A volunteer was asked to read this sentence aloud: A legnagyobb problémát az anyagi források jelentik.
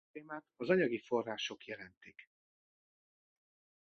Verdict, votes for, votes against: rejected, 0, 2